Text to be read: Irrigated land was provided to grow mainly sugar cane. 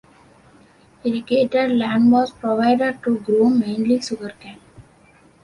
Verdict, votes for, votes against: accepted, 2, 0